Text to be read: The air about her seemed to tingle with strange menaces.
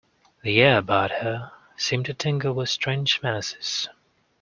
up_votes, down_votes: 2, 0